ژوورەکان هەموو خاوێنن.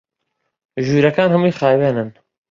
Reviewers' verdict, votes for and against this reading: rejected, 1, 2